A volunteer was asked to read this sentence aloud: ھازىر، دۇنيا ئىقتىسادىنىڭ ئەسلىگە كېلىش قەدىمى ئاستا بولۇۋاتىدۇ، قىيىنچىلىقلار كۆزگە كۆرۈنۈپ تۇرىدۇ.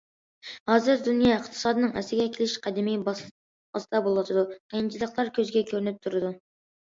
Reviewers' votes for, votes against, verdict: 0, 2, rejected